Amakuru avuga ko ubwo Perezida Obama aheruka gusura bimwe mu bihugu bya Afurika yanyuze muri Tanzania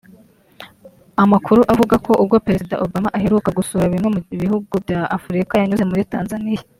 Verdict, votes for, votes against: accepted, 3, 0